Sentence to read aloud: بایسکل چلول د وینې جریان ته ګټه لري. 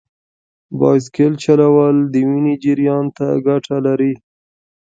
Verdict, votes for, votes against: rejected, 1, 2